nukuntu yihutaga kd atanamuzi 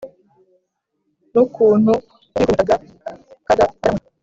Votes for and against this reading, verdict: 0, 2, rejected